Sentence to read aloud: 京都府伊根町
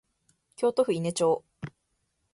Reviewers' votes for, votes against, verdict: 4, 0, accepted